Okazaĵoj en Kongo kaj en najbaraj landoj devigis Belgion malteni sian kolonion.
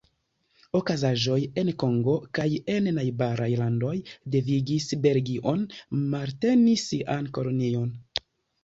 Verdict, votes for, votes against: rejected, 1, 2